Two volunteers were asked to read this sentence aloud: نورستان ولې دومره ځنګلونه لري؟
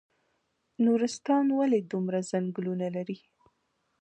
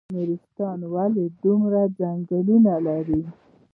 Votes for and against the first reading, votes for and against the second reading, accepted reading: 2, 1, 1, 2, first